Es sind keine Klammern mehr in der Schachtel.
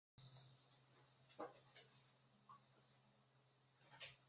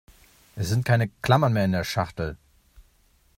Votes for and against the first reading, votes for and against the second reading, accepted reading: 0, 2, 3, 0, second